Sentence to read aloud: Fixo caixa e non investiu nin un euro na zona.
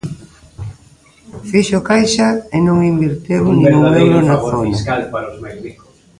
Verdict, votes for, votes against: rejected, 0, 2